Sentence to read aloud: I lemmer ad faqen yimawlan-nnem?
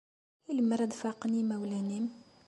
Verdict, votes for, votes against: accepted, 2, 0